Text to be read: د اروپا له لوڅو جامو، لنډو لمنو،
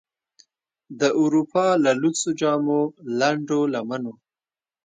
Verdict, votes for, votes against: accepted, 2, 0